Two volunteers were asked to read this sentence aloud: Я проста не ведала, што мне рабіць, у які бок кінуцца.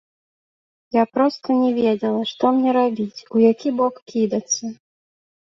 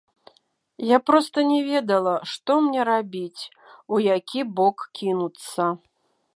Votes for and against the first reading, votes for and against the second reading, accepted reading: 0, 2, 2, 1, second